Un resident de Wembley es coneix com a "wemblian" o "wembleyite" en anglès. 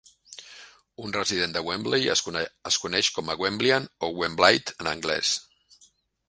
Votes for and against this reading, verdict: 0, 2, rejected